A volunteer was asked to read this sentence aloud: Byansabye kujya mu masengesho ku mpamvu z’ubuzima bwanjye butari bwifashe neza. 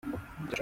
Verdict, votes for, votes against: rejected, 0, 2